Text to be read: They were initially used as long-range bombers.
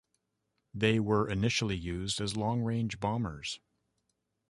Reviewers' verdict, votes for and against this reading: accepted, 2, 0